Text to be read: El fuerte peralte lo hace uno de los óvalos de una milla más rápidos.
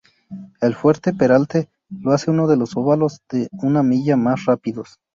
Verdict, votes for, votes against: rejected, 2, 2